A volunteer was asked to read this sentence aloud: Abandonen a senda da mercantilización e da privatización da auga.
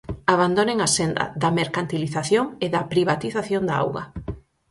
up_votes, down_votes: 6, 0